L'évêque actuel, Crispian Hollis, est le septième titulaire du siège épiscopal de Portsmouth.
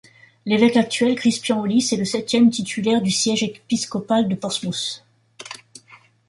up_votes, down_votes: 1, 2